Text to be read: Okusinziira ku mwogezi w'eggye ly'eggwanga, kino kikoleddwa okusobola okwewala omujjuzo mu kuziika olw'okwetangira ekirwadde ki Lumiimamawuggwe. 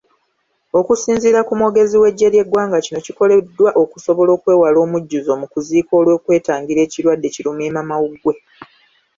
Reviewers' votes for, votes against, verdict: 0, 2, rejected